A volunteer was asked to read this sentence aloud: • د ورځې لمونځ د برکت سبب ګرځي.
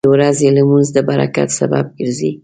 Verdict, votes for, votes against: accepted, 2, 0